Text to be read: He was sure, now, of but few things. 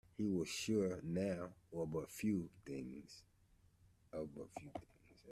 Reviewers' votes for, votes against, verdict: 0, 2, rejected